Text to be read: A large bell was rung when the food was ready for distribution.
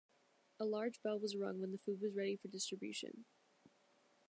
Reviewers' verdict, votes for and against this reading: accepted, 2, 0